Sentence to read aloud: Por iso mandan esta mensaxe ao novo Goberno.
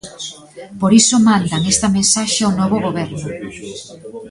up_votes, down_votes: 1, 2